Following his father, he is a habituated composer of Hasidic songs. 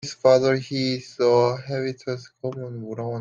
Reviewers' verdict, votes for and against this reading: rejected, 1, 2